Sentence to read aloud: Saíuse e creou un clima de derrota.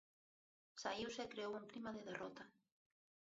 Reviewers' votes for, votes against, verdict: 0, 2, rejected